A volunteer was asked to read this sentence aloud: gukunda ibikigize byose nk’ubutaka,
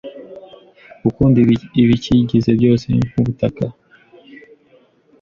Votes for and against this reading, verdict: 0, 2, rejected